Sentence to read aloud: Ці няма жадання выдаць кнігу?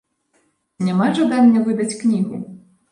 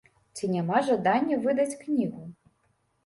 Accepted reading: second